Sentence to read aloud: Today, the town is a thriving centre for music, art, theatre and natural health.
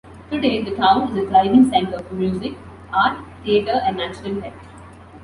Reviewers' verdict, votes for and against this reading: accepted, 2, 0